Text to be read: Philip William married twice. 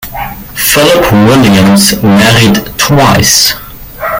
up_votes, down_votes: 0, 2